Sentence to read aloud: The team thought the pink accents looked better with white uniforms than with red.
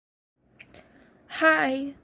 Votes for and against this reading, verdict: 0, 2, rejected